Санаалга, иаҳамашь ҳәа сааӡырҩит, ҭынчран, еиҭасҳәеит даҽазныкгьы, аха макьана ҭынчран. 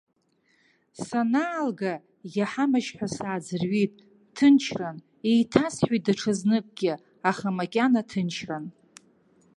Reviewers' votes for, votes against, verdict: 1, 2, rejected